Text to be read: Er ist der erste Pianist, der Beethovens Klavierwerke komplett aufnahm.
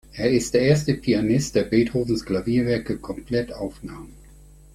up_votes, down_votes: 5, 0